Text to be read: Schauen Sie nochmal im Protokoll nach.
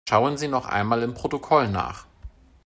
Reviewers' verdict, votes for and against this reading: rejected, 2, 3